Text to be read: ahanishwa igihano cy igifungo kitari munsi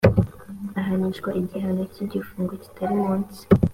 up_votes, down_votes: 2, 0